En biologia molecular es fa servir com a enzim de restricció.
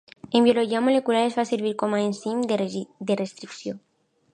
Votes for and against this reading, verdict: 0, 2, rejected